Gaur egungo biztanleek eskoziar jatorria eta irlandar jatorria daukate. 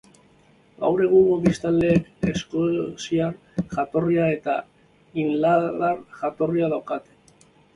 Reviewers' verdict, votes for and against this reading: rejected, 0, 2